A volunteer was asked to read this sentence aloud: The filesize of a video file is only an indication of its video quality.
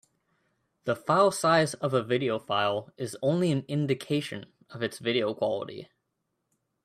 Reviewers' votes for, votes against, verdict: 3, 0, accepted